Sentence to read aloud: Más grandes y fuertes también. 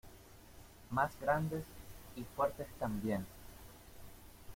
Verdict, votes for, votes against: accepted, 2, 0